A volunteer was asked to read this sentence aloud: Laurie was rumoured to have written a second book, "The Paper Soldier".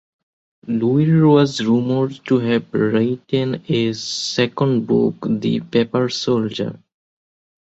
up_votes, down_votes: 2, 1